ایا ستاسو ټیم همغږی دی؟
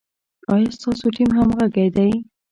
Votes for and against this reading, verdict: 2, 0, accepted